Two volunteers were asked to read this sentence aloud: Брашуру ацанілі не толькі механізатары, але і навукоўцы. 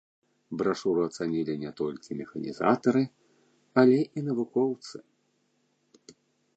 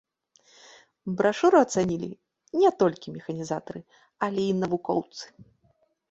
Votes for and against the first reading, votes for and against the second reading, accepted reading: 1, 2, 2, 1, second